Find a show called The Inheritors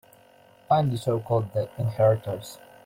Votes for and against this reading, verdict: 2, 0, accepted